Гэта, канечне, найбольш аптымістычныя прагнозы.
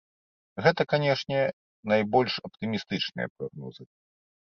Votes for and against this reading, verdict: 0, 2, rejected